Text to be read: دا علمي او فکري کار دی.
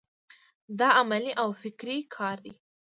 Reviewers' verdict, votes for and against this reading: rejected, 1, 2